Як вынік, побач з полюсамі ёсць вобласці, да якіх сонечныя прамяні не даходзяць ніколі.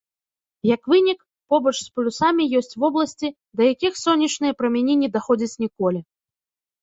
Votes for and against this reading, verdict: 1, 2, rejected